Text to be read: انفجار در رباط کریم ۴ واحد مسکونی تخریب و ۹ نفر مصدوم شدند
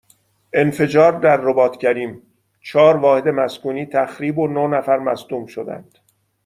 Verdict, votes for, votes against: rejected, 0, 2